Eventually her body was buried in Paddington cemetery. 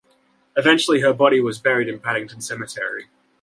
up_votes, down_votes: 2, 0